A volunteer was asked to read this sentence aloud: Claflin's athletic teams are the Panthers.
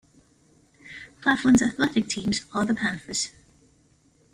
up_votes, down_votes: 2, 0